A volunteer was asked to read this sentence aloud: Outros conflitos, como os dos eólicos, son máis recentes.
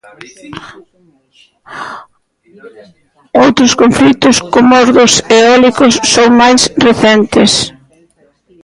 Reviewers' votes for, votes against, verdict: 1, 2, rejected